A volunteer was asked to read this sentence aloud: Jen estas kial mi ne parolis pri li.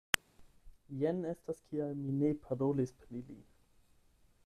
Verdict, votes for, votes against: accepted, 8, 0